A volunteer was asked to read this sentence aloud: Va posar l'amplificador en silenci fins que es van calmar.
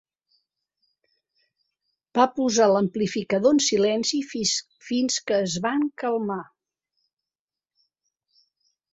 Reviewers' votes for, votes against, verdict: 0, 2, rejected